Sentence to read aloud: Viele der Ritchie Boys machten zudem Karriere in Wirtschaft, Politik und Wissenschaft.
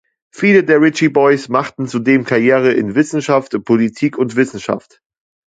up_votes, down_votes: 0, 2